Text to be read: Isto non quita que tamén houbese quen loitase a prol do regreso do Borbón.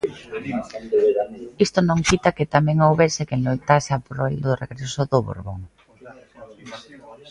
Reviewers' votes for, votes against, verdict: 2, 0, accepted